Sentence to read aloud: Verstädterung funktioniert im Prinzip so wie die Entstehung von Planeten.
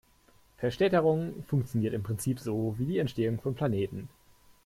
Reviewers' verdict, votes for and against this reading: accepted, 3, 0